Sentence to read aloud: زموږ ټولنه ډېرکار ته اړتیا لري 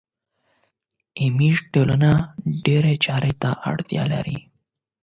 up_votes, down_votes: 0, 8